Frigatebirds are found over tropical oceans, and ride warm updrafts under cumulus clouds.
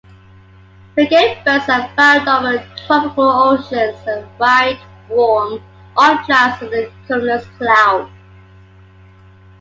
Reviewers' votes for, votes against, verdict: 2, 0, accepted